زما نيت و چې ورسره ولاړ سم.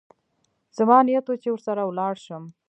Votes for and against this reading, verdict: 2, 0, accepted